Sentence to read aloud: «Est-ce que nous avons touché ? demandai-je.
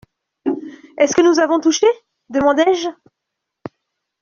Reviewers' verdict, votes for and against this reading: accepted, 2, 0